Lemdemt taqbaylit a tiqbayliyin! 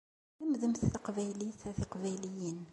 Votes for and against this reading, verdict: 2, 0, accepted